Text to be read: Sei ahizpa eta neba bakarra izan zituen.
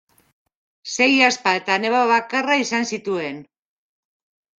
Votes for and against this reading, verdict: 1, 2, rejected